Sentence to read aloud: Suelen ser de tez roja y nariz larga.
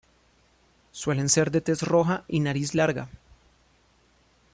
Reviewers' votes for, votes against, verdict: 2, 0, accepted